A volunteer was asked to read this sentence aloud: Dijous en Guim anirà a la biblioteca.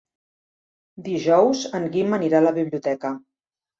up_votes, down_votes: 3, 0